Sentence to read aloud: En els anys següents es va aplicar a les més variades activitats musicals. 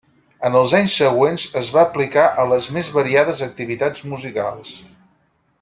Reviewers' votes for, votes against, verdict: 6, 0, accepted